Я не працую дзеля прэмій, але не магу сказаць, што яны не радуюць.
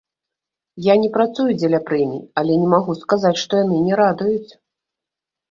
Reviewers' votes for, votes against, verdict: 1, 2, rejected